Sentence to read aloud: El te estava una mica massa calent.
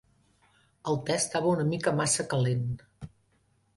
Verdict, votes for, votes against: accepted, 2, 0